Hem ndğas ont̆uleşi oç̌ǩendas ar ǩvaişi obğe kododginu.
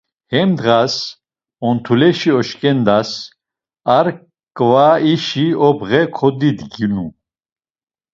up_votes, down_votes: 1, 2